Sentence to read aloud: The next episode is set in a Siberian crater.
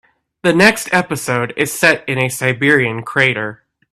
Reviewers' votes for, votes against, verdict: 2, 0, accepted